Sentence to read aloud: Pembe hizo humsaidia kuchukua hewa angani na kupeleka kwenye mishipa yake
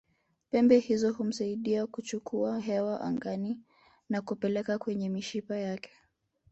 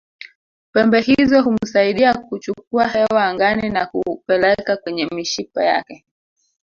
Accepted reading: first